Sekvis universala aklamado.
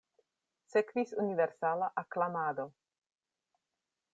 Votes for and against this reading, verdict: 2, 0, accepted